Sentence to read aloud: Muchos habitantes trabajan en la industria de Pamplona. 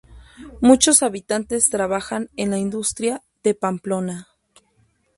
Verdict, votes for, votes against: rejected, 0, 2